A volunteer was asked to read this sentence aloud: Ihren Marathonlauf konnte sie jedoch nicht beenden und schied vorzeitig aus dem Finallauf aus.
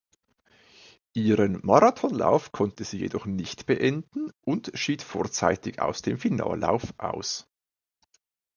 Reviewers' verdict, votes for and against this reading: accepted, 2, 0